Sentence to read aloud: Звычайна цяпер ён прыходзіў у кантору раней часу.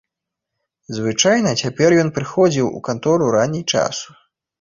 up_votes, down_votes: 1, 2